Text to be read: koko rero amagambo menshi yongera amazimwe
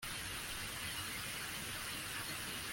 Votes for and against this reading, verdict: 0, 2, rejected